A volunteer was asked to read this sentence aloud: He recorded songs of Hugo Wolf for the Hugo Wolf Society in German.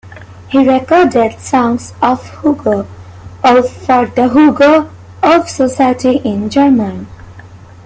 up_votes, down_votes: 1, 2